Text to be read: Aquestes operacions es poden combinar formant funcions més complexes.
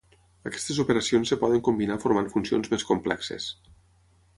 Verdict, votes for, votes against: accepted, 6, 3